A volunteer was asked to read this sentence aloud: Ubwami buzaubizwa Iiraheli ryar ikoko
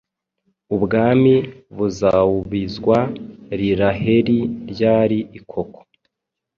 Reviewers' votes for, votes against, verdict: 2, 0, accepted